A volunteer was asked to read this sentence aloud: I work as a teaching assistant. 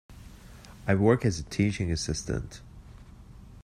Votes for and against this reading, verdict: 2, 0, accepted